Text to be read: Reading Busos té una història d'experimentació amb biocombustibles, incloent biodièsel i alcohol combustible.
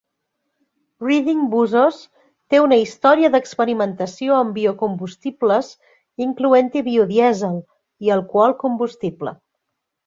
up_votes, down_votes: 0, 2